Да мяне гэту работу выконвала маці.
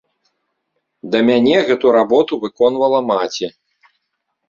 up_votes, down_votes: 2, 0